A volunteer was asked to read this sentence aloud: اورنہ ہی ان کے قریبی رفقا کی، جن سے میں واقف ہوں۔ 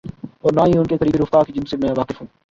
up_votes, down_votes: 2, 4